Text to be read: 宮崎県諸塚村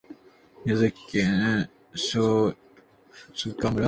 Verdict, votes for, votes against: rejected, 2, 6